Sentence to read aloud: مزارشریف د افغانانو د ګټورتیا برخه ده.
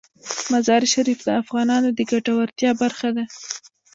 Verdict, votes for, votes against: accepted, 2, 1